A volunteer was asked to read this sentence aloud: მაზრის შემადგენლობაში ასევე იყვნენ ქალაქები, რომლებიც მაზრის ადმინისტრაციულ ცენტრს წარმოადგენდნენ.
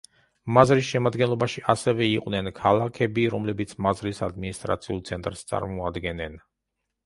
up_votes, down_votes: 0, 2